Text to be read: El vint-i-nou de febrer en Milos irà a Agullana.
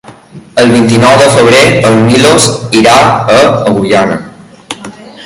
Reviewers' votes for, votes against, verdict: 2, 1, accepted